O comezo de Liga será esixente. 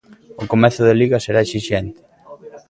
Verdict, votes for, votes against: rejected, 1, 2